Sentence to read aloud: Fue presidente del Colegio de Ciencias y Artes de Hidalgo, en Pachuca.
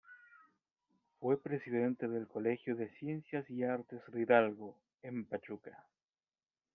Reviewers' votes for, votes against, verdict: 2, 0, accepted